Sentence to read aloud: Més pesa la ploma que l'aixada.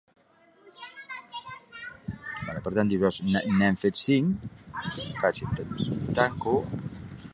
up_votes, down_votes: 0, 3